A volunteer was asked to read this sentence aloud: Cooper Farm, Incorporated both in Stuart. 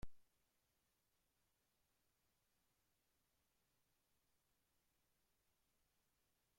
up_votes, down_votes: 0, 2